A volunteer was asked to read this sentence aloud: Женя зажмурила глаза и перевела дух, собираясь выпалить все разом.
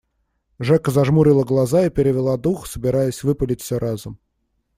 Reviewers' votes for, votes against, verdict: 0, 2, rejected